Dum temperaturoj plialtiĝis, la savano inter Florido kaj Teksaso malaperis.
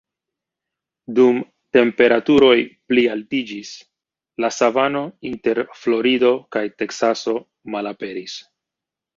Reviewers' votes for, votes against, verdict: 1, 2, rejected